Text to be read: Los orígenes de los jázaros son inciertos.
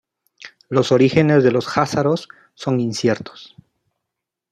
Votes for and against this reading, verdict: 2, 0, accepted